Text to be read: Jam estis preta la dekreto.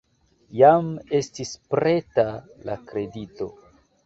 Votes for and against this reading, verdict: 2, 0, accepted